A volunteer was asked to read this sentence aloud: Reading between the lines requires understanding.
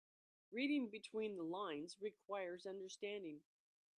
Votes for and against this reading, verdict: 4, 0, accepted